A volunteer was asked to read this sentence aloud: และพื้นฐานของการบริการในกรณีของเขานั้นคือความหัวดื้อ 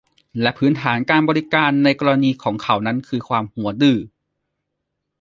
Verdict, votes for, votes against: rejected, 1, 2